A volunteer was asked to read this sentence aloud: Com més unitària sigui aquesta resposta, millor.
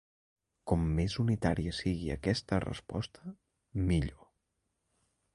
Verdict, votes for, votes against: rejected, 1, 2